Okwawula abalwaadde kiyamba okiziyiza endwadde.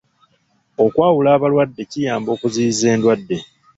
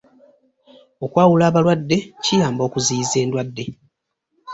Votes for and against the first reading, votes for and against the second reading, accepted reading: 0, 2, 2, 0, second